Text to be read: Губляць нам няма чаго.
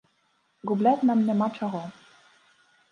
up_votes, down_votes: 0, 2